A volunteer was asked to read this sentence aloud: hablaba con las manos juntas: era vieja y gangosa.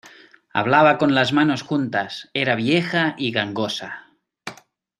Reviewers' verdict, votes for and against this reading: accepted, 2, 0